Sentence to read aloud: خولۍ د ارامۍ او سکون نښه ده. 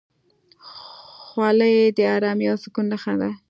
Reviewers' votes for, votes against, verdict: 3, 0, accepted